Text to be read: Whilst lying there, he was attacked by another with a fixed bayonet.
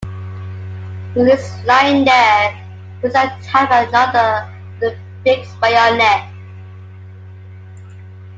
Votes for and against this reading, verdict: 0, 2, rejected